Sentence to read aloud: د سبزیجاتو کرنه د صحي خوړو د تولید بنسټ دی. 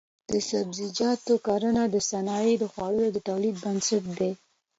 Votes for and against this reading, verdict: 2, 0, accepted